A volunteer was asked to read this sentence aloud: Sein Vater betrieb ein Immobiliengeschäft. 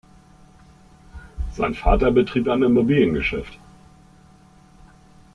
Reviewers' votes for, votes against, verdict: 0, 2, rejected